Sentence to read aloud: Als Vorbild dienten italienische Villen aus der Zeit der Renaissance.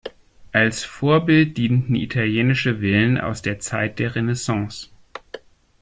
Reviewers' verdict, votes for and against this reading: accepted, 2, 0